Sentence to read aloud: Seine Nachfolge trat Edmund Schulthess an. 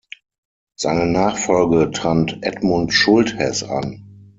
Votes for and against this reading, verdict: 3, 6, rejected